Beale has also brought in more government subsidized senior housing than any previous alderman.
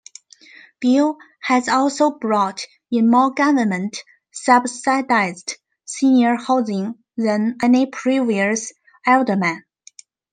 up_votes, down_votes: 2, 1